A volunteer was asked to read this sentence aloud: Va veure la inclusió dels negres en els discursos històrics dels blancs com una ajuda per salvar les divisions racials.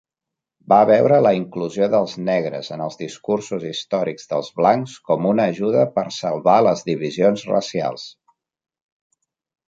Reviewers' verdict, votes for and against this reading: accepted, 3, 0